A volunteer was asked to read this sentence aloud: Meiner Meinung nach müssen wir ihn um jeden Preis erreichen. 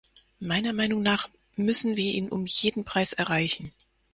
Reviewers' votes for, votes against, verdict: 4, 0, accepted